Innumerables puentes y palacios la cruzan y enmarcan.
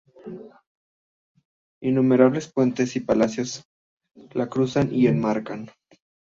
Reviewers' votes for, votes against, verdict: 2, 0, accepted